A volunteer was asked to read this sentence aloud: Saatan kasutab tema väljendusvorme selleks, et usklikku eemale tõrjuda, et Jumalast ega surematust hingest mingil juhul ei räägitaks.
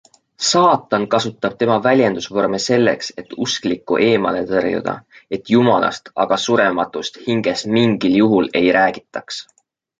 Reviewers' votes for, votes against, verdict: 0, 2, rejected